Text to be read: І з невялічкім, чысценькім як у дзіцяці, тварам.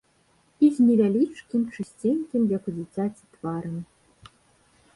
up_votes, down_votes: 1, 2